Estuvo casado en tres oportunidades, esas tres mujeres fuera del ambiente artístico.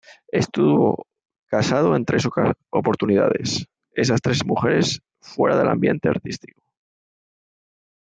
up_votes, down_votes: 0, 2